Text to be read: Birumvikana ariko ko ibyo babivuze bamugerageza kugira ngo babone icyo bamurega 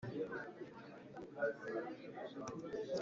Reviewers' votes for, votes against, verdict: 0, 2, rejected